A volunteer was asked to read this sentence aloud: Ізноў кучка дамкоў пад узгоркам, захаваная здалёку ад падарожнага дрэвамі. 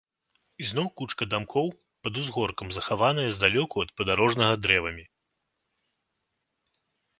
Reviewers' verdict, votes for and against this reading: accepted, 2, 0